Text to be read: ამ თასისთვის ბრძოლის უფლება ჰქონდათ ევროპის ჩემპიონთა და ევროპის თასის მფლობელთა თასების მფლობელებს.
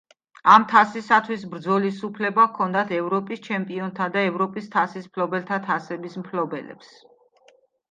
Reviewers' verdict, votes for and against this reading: rejected, 0, 2